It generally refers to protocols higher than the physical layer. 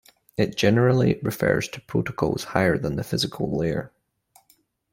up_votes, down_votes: 2, 0